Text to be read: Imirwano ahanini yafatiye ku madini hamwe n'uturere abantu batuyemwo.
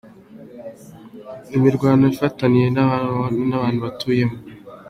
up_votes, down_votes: 2, 0